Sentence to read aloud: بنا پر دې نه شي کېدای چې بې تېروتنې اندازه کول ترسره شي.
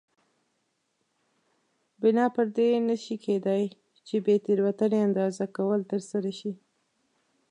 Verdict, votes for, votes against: accepted, 2, 0